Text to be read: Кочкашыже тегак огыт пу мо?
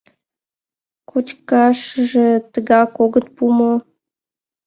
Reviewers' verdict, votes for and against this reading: accepted, 2, 0